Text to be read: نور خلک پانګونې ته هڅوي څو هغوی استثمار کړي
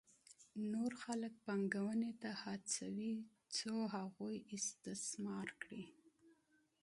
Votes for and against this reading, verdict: 2, 0, accepted